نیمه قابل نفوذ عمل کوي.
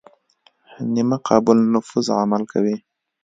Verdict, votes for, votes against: accepted, 2, 0